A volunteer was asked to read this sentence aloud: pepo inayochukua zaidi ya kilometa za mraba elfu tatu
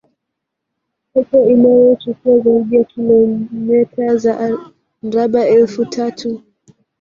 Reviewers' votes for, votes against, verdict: 1, 2, rejected